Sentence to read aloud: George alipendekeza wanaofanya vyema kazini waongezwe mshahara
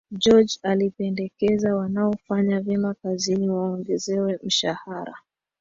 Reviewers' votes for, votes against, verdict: 2, 0, accepted